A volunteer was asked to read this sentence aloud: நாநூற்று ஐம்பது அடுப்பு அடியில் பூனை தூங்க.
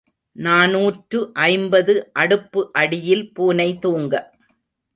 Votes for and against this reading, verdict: 2, 0, accepted